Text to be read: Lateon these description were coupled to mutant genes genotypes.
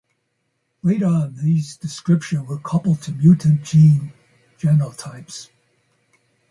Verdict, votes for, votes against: rejected, 0, 2